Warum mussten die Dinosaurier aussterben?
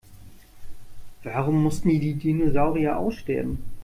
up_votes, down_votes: 1, 2